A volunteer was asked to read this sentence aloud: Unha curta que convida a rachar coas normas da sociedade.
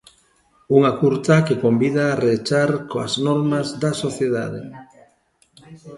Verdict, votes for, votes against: rejected, 0, 2